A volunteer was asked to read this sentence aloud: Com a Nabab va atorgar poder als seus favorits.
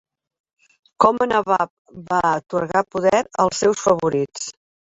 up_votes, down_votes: 2, 1